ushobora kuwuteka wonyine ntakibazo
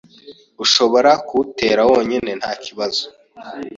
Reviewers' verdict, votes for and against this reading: rejected, 1, 2